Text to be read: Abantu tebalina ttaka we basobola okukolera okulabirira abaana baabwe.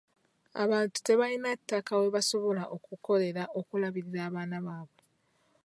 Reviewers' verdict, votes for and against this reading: rejected, 1, 2